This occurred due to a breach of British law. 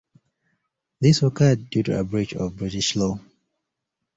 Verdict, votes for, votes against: accepted, 2, 0